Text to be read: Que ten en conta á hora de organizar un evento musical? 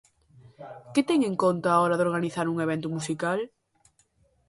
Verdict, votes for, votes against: accepted, 2, 0